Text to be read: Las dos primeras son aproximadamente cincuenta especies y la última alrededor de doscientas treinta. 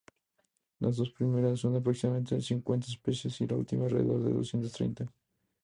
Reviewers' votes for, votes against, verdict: 2, 0, accepted